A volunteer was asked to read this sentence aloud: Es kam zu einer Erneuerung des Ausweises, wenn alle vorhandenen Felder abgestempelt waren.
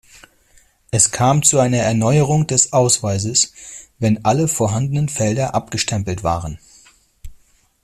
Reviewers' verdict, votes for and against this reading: accepted, 2, 0